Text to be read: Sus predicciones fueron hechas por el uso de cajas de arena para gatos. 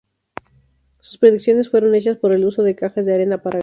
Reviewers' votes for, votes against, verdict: 0, 2, rejected